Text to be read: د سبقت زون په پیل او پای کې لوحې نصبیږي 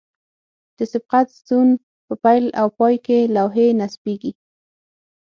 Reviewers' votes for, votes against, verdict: 6, 0, accepted